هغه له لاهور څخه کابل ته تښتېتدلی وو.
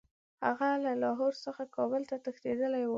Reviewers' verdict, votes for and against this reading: accepted, 2, 0